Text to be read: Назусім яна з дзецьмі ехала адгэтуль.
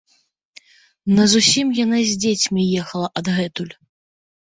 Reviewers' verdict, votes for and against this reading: accepted, 2, 0